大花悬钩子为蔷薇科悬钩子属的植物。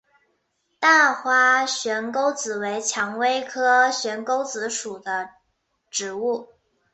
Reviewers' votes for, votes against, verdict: 2, 0, accepted